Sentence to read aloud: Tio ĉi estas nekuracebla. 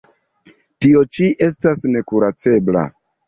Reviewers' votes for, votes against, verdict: 1, 2, rejected